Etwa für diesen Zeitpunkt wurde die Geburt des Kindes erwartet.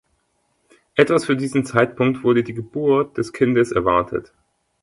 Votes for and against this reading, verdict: 0, 2, rejected